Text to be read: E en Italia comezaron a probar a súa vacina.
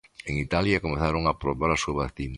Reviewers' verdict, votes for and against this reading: rejected, 0, 2